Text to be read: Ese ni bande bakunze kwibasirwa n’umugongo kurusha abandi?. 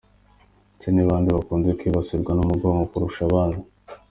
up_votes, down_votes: 2, 1